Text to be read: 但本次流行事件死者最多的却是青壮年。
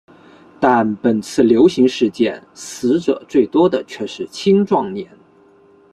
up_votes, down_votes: 2, 0